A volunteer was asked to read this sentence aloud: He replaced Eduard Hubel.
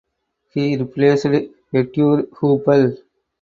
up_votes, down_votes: 0, 4